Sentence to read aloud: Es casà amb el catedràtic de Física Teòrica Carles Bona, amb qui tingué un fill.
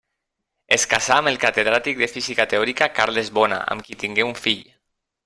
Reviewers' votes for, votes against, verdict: 1, 2, rejected